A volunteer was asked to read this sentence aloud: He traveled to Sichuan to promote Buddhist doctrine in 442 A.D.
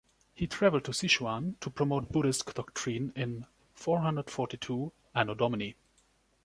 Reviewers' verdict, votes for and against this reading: rejected, 0, 2